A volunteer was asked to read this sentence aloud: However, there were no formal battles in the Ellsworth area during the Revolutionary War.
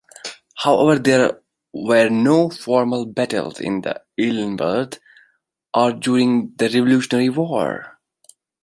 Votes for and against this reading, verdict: 0, 2, rejected